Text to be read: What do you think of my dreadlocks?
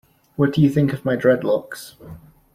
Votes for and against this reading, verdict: 2, 0, accepted